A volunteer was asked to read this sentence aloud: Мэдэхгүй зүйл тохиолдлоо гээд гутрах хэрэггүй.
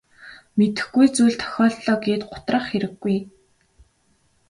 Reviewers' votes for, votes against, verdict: 3, 0, accepted